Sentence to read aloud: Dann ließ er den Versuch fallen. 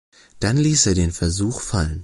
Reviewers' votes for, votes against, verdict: 2, 0, accepted